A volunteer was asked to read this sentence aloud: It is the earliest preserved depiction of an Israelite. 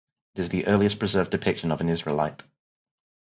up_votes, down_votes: 0, 4